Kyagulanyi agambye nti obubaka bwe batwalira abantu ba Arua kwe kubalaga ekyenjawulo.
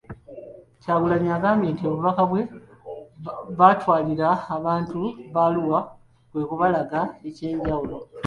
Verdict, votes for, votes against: rejected, 1, 2